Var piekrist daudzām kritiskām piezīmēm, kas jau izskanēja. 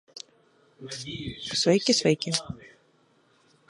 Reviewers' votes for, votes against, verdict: 0, 2, rejected